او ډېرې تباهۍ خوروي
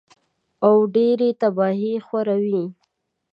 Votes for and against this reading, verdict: 2, 0, accepted